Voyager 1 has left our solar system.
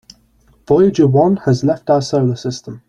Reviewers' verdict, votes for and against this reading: rejected, 0, 2